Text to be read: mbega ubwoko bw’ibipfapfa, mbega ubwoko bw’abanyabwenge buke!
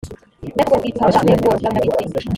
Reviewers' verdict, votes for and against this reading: rejected, 0, 2